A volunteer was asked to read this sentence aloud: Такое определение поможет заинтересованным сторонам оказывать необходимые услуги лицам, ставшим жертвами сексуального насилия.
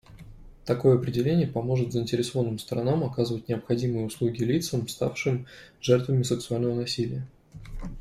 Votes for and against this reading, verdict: 2, 0, accepted